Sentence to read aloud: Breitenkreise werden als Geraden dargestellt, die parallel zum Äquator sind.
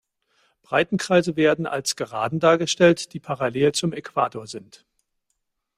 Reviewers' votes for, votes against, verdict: 3, 0, accepted